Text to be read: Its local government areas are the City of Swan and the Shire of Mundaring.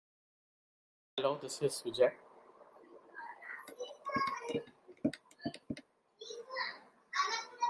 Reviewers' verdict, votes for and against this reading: rejected, 0, 2